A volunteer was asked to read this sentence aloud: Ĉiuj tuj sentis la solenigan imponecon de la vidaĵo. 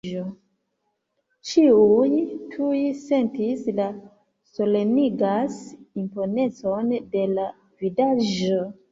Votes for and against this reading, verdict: 1, 2, rejected